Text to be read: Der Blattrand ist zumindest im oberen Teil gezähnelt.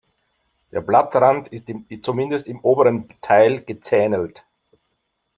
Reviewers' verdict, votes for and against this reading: rejected, 1, 2